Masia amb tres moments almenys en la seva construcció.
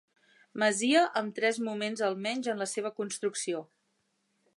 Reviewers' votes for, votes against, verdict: 4, 0, accepted